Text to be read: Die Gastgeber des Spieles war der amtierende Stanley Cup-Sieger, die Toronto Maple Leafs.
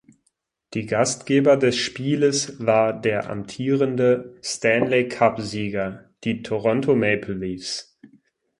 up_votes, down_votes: 6, 0